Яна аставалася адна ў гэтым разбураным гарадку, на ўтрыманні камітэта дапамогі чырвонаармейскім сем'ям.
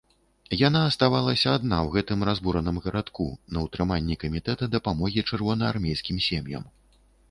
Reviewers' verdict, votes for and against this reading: accepted, 2, 0